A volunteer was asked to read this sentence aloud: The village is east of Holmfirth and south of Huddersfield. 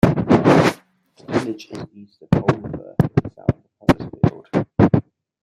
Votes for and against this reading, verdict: 0, 2, rejected